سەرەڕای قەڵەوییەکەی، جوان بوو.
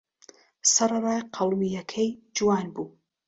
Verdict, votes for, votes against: rejected, 0, 2